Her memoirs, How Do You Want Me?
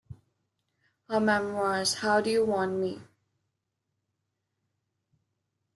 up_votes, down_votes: 2, 0